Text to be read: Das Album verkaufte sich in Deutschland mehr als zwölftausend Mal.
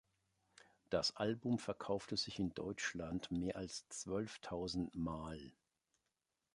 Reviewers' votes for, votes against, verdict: 2, 0, accepted